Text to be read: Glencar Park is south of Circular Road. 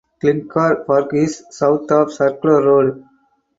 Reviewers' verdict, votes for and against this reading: rejected, 2, 2